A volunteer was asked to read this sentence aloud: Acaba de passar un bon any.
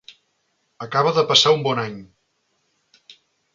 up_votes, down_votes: 3, 0